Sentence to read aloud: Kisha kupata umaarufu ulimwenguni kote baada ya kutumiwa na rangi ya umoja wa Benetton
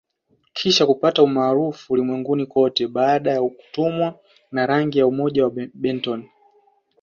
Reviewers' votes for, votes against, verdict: 1, 2, rejected